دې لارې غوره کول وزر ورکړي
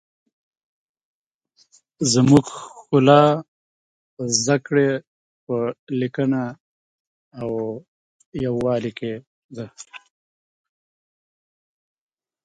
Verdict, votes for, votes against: rejected, 0, 2